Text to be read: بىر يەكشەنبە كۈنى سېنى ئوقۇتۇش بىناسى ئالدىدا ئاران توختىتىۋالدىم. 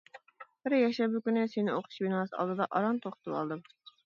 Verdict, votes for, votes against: rejected, 1, 2